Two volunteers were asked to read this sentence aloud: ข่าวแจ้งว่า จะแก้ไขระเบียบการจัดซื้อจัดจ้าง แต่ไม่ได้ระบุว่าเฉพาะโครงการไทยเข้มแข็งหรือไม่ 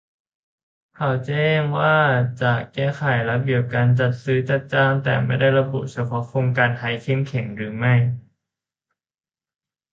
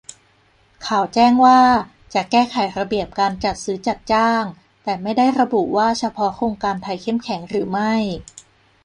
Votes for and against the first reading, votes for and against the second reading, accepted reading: 0, 2, 3, 0, second